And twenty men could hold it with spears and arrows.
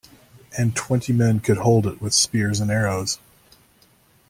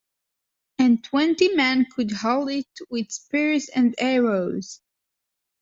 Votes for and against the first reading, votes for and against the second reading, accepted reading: 2, 0, 0, 2, first